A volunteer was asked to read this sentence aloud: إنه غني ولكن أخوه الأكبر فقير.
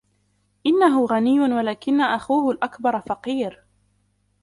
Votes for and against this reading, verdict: 1, 2, rejected